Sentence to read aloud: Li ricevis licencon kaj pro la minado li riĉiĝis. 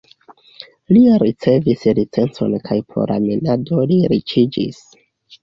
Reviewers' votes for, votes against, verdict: 2, 0, accepted